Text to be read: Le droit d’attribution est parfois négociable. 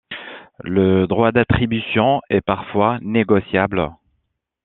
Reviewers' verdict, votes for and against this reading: accepted, 2, 0